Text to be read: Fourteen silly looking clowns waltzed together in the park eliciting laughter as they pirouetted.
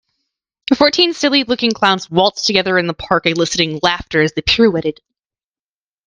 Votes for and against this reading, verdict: 2, 1, accepted